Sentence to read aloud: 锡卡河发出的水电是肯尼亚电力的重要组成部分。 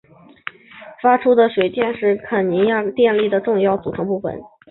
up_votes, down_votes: 3, 1